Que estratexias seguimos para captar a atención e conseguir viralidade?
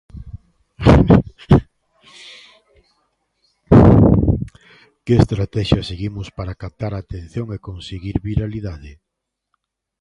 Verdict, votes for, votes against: rejected, 1, 2